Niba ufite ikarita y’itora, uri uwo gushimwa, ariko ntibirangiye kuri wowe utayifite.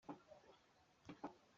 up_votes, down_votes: 1, 2